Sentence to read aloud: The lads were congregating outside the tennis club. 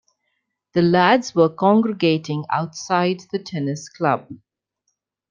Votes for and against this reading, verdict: 2, 0, accepted